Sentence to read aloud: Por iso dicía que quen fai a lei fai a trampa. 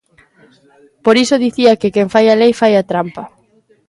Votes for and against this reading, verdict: 2, 0, accepted